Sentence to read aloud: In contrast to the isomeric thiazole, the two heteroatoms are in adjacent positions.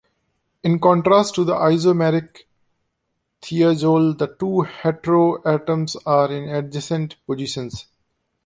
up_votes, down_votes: 2, 0